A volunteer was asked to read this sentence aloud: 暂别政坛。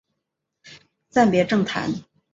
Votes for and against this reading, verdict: 5, 0, accepted